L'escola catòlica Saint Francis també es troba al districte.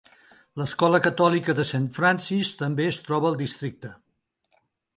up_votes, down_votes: 0, 2